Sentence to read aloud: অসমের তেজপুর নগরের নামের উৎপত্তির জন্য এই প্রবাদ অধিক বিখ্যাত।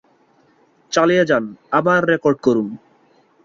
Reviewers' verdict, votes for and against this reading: rejected, 0, 2